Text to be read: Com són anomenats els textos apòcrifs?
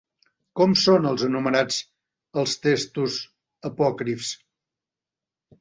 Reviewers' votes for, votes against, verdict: 0, 3, rejected